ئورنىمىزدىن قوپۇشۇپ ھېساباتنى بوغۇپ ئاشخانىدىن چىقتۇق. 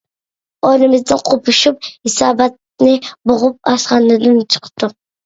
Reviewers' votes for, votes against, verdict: 2, 0, accepted